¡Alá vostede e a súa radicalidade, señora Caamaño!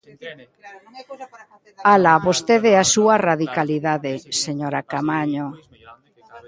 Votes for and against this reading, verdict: 0, 2, rejected